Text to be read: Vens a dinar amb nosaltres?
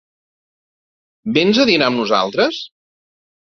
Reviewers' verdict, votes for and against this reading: accepted, 2, 0